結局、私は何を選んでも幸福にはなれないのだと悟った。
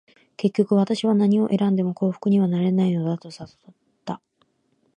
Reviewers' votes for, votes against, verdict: 2, 0, accepted